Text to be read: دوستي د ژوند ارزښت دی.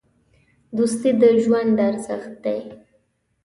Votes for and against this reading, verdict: 2, 0, accepted